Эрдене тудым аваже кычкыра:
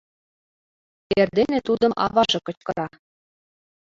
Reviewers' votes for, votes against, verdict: 2, 0, accepted